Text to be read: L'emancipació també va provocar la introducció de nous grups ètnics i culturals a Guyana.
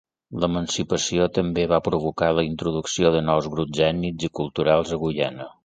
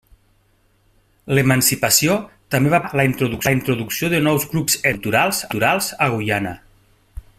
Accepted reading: first